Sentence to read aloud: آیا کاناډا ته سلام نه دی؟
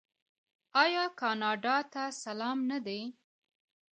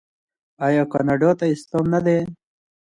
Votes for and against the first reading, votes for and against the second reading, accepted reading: 1, 2, 2, 0, second